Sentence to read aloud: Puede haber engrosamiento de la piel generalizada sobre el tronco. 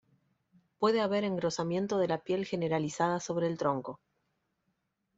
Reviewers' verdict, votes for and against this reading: accepted, 2, 0